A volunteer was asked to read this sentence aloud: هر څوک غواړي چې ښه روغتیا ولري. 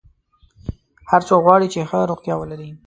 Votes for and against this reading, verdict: 2, 0, accepted